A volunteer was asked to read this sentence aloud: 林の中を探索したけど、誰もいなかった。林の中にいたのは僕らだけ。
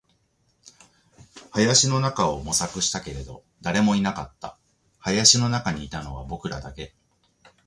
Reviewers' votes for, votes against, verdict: 0, 2, rejected